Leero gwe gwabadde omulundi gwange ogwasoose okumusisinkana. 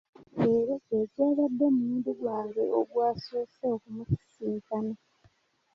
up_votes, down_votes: 2, 1